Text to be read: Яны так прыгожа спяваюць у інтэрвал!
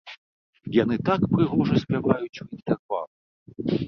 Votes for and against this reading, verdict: 0, 2, rejected